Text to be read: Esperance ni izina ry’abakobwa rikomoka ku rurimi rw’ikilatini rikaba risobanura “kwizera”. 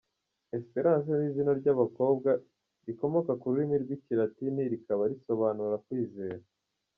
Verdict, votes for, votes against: accepted, 2, 0